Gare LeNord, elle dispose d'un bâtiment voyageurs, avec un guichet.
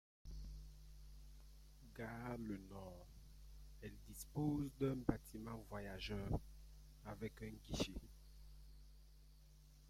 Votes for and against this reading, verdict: 2, 0, accepted